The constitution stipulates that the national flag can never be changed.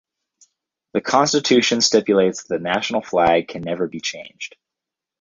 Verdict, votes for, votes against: rejected, 2, 4